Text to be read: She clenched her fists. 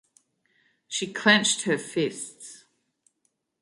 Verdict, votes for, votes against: accepted, 2, 0